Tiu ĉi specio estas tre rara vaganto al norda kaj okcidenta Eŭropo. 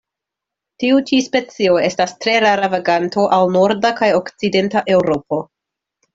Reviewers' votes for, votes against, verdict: 2, 0, accepted